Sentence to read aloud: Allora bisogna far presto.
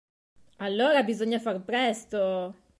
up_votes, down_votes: 2, 0